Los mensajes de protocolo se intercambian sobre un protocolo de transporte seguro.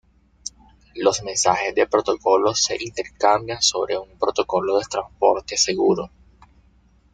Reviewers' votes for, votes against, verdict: 1, 2, rejected